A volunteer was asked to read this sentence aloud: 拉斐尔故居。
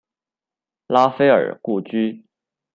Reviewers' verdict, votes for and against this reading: accepted, 2, 0